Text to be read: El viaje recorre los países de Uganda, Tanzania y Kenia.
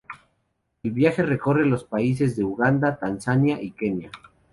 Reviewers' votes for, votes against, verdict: 2, 0, accepted